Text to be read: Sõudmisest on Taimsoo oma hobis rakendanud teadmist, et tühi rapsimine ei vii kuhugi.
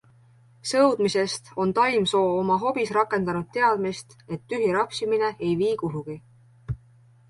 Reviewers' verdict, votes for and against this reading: accepted, 2, 0